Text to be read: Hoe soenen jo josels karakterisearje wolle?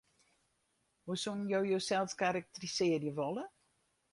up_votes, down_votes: 2, 4